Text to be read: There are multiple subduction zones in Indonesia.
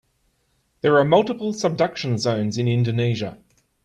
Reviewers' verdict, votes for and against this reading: accepted, 3, 0